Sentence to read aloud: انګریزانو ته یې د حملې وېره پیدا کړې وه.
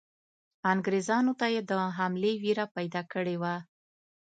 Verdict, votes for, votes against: accepted, 2, 0